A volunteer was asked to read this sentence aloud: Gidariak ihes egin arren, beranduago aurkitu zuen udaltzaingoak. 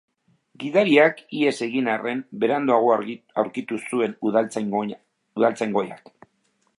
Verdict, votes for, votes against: rejected, 0, 2